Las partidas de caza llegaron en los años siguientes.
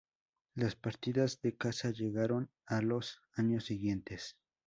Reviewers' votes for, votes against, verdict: 2, 0, accepted